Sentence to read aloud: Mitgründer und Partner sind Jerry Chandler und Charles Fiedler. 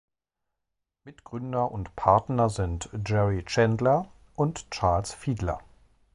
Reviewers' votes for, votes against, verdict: 2, 0, accepted